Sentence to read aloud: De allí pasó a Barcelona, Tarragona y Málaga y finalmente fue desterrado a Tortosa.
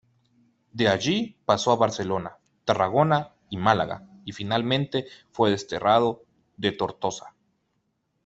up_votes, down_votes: 0, 2